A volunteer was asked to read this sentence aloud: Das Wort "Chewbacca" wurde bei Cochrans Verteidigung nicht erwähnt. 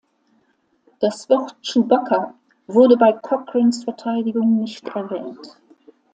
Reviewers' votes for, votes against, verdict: 2, 1, accepted